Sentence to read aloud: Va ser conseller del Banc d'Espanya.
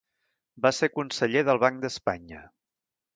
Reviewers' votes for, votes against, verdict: 2, 0, accepted